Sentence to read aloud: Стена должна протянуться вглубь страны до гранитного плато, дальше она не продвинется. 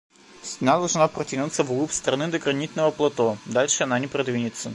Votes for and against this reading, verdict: 2, 1, accepted